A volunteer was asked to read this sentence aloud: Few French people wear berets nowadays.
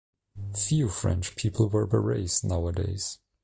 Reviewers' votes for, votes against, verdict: 2, 0, accepted